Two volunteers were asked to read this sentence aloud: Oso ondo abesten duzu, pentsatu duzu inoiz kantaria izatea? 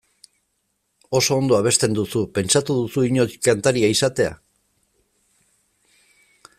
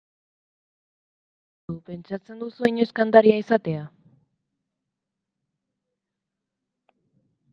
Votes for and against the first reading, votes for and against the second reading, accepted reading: 2, 0, 0, 2, first